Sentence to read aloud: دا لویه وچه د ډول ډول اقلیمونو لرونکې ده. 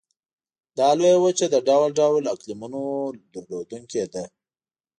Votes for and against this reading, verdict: 1, 2, rejected